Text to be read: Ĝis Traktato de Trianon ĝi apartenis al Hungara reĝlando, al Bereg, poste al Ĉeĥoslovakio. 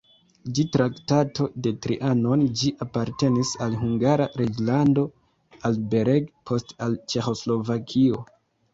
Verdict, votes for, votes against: rejected, 1, 2